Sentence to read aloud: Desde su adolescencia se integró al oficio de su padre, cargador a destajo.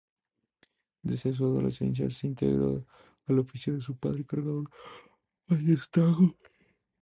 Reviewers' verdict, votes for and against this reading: accepted, 2, 0